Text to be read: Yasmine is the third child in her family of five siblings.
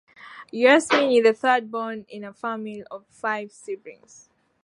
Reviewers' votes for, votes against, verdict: 0, 3, rejected